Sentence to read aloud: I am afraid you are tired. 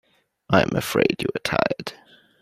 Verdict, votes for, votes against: rejected, 1, 2